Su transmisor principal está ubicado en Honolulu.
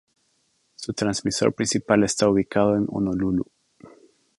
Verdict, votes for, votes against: accepted, 2, 0